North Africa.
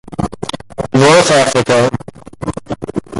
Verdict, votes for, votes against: rejected, 1, 2